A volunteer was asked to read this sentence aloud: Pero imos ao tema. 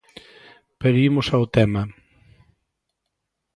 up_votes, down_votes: 2, 0